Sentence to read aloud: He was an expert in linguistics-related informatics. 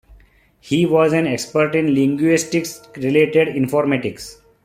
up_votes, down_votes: 2, 0